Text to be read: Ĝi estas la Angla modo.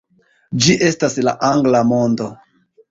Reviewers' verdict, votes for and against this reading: accepted, 3, 2